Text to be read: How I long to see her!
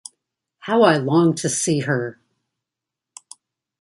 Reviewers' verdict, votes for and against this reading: accepted, 2, 0